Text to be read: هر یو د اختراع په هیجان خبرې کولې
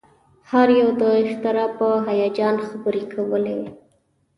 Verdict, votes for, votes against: rejected, 0, 2